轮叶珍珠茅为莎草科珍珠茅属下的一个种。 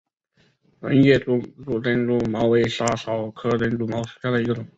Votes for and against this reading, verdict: 1, 2, rejected